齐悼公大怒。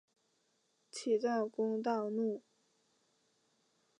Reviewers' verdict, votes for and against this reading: accepted, 2, 0